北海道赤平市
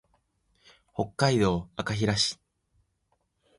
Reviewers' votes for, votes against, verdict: 2, 0, accepted